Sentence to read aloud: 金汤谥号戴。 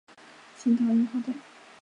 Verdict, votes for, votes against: rejected, 0, 3